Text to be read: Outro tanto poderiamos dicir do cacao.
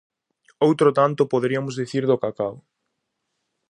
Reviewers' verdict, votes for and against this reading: rejected, 0, 2